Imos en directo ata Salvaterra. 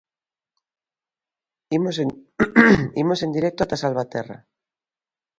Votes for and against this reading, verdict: 0, 2, rejected